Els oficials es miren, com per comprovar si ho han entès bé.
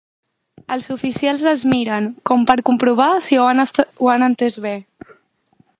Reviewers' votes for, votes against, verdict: 0, 2, rejected